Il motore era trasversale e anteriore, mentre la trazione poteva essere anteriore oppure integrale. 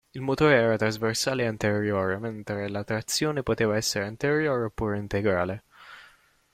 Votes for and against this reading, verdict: 0, 2, rejected